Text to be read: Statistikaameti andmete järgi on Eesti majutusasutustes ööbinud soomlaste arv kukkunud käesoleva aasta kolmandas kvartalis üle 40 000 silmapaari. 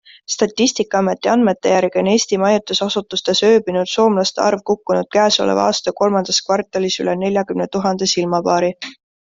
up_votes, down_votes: 0, 2